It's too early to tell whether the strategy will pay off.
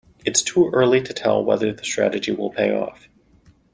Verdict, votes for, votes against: accepted, 2, 0